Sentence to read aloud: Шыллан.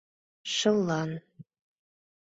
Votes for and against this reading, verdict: 2, 0, accepted